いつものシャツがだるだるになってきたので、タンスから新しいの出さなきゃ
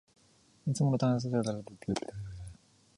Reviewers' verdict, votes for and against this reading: rejected, 0, 2